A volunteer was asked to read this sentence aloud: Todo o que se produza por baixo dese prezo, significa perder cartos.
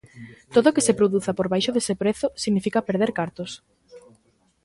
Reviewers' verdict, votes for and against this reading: rejected, 0, 2